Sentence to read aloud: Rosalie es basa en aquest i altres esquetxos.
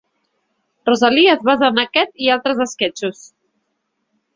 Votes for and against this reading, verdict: 1, 2, rejected